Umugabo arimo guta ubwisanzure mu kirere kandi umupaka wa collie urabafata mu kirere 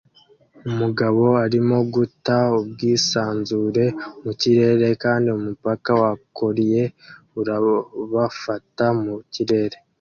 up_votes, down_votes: 2, 0